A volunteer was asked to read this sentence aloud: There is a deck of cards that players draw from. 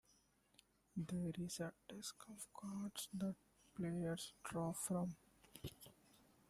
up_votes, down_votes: 1, 2